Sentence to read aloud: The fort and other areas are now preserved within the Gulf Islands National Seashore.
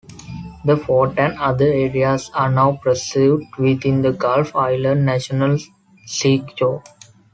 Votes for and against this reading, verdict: 0, 2, rejected